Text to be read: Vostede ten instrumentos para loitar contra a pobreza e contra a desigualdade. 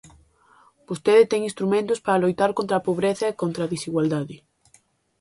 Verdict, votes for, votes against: accepted, 2, 0